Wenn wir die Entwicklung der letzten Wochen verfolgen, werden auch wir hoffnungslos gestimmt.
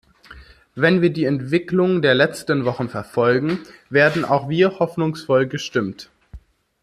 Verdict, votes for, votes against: rejected, 0, 2